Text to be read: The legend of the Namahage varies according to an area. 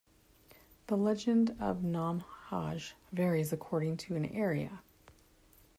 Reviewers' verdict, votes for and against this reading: rejected, 1, 2